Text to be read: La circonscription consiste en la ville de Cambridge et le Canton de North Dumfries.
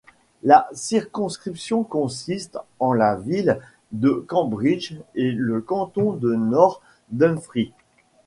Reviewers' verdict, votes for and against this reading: rejected, 0, 2